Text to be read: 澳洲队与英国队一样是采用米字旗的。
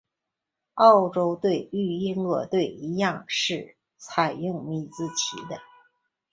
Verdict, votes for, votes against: accepted, 2, 0